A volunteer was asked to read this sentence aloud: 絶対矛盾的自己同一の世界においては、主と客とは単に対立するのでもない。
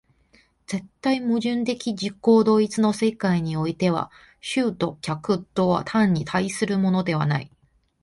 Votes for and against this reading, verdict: 2, 1, accepted